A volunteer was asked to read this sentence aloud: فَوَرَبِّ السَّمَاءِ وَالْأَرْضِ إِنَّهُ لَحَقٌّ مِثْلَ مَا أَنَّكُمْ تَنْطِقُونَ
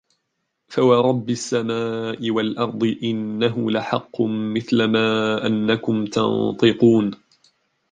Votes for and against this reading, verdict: 1, 2, rejected